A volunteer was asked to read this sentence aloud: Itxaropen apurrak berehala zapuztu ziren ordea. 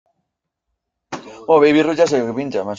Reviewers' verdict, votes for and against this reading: rejected, 0, 2